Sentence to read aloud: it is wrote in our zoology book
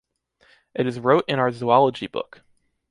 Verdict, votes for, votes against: accepted, 2, 0